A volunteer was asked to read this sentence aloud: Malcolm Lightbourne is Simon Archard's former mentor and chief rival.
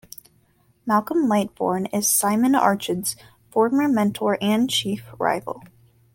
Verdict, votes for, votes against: accepted, 2, 0